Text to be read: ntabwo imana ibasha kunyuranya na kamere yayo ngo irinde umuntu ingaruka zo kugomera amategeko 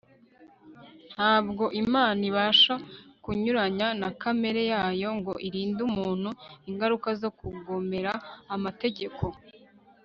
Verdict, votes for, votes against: rejected, 0, 2